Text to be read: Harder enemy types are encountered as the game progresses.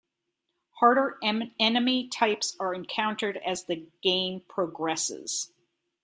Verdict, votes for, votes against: rejected, 1, 2